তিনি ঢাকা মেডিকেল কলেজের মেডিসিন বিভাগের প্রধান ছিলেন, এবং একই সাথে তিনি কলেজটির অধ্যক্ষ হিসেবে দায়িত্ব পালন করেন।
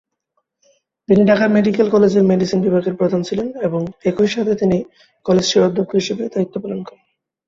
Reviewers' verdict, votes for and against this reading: accepted, 4, 1